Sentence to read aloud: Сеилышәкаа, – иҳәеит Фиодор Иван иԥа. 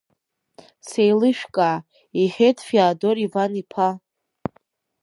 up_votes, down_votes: 0, 2